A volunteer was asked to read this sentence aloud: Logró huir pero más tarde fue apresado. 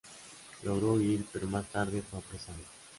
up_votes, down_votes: 0, 2